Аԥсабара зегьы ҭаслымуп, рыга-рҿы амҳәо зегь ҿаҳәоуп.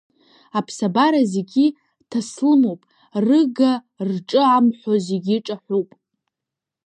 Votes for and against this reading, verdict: 0, 2, rejected